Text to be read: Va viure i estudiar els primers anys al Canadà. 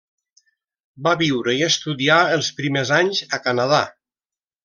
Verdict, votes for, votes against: rejected, 0, 2